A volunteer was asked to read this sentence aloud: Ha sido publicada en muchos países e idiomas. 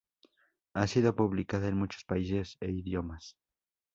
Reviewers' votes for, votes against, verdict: 2, 0, accepted